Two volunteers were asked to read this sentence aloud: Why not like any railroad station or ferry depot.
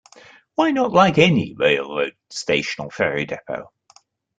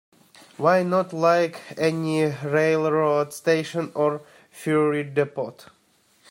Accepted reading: first